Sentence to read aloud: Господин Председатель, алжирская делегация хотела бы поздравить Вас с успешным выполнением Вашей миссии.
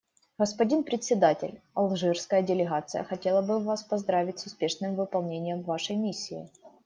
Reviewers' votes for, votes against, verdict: 2, 1, accepted